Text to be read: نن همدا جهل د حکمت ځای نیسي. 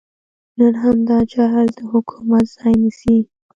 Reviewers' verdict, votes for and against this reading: accepted, 2, 0